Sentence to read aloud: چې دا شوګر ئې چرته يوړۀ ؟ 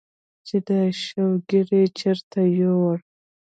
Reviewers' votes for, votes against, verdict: 0, 2, rejected